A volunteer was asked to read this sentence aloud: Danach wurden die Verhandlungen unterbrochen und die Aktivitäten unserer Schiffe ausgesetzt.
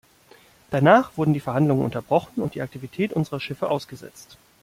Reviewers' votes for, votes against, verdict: 1, 2, rejected